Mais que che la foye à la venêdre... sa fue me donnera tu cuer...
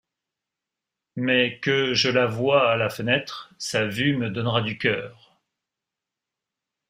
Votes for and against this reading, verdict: 0, 2, rejected